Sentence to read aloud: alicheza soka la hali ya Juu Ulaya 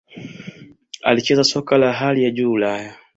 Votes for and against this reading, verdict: 2, 0, accepted